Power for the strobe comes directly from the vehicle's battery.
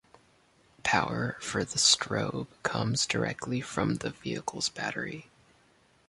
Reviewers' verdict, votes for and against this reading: accepted, 2, 0